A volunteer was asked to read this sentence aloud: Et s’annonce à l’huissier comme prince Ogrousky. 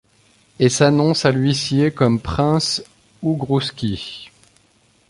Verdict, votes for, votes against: rejected, 1, 2